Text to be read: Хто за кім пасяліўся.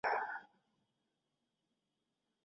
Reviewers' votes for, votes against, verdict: 0, 2, rejected